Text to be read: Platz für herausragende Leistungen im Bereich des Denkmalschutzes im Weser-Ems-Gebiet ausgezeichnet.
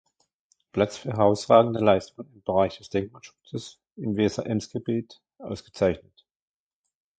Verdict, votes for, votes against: rejected, 1, 2